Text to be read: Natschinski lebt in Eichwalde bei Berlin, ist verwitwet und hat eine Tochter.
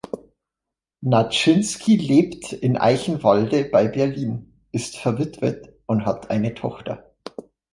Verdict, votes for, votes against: rejected, 1, 2